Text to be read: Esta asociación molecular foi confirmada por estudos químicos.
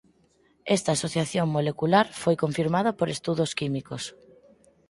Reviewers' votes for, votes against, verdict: 4, 0, accepted